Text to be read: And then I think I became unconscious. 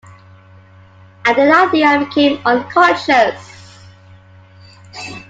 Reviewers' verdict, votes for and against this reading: rejected, 0, 2